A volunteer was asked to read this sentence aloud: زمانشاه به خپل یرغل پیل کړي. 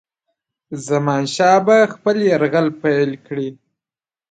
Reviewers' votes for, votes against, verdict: 2, 0, accepted